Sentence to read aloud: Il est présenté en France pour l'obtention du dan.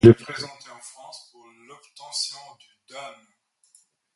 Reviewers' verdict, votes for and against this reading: rejected, 0, 2